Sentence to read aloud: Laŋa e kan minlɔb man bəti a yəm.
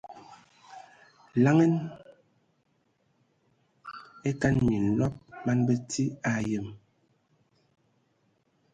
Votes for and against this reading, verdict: 2, 0, accepted